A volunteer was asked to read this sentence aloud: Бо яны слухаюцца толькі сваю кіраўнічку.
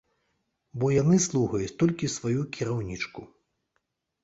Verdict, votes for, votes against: rejected, 0, 2